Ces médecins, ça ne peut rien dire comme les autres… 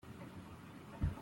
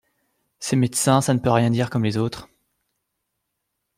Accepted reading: second